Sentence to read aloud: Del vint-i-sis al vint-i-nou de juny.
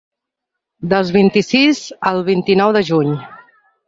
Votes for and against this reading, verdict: 1, 2, rejected